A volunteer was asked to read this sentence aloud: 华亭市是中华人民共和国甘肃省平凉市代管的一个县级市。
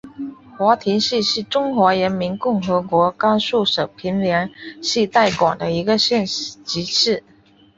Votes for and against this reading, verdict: 4, 1, accepted